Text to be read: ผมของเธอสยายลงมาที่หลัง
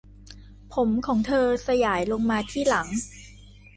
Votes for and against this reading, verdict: 2, 0, accepted